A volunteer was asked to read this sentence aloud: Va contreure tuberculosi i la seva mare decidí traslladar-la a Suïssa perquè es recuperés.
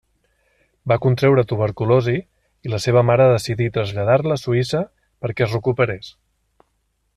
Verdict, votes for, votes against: accepted, 2, 0